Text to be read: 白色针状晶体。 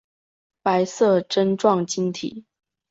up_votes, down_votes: 2, 0